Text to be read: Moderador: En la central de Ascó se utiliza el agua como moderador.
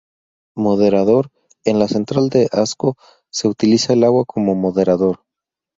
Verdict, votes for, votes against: rejected, 2, 2